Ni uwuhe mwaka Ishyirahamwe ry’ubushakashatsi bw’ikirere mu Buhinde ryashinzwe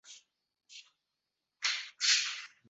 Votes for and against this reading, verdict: 0, 2, rejected